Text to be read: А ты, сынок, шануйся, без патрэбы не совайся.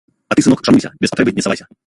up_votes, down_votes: 1, 2